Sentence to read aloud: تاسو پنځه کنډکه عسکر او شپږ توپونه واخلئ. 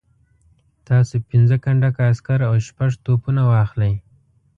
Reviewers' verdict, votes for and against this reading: accepted, 2, 0